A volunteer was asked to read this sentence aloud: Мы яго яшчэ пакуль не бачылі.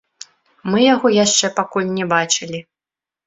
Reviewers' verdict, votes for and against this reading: accepted, 3, 2